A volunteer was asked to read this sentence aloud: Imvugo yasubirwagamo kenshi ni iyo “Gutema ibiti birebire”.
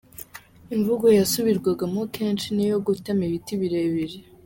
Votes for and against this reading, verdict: 3, 0, accepted